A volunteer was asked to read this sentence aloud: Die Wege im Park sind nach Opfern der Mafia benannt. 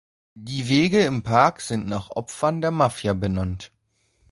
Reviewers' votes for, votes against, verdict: 2, 0, accepted